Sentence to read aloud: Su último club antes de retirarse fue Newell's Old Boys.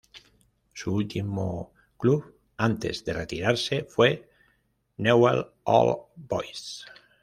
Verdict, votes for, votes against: accepted, 2, 0